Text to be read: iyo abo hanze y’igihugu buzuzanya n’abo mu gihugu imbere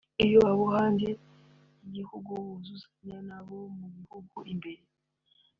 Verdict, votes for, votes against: accepted, 2, 1